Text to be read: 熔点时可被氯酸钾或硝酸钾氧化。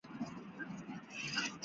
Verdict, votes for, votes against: rejected, 0, 3